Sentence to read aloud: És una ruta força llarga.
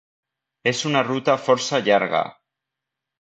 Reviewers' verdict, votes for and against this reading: accepted, 2, 0